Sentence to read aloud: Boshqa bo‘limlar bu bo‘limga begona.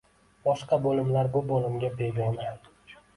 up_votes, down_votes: 2, 0